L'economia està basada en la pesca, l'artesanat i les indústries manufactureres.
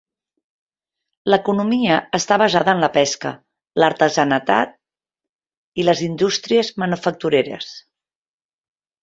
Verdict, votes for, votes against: rejected, 0, 2